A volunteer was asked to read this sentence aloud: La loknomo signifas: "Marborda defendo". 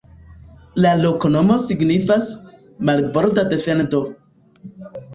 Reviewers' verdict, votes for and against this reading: accepted, 3, 2